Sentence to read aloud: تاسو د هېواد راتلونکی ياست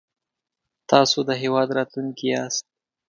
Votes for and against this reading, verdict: 3, 0, accepted